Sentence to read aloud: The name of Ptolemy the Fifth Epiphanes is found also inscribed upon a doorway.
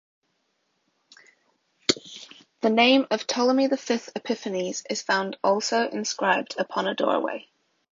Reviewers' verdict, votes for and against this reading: accepted, 2, 0